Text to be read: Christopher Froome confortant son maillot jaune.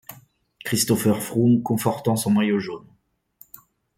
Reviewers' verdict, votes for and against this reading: accepted, 3, 0